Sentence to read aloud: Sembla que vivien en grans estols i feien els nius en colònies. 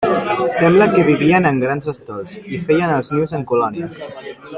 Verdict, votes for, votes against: rejected, 0, 2